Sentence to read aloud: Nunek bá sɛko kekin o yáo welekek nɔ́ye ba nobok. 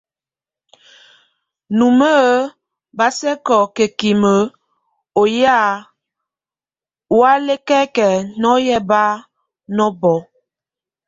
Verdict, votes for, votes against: rejected, 0, 2